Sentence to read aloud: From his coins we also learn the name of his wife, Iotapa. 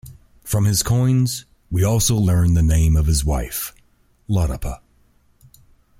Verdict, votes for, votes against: accepted, 2, 0